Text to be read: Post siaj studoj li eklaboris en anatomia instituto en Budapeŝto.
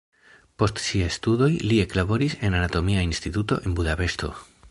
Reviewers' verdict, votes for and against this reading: accepted, 2, 0